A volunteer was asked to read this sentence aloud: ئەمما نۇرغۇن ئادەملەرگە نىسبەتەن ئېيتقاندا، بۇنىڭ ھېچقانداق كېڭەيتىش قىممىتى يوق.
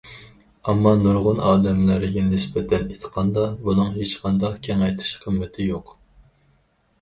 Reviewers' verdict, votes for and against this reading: rejected, 2, 4